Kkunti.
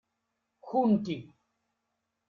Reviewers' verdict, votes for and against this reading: accepted, 2, 0